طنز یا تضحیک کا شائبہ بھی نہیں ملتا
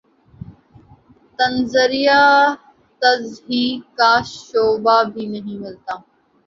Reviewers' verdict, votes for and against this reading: rejected, 0, 2